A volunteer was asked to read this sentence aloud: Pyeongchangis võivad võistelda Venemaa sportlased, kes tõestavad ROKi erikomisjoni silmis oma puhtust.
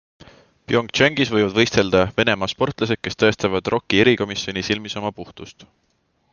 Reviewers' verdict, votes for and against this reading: accepted, 2, 0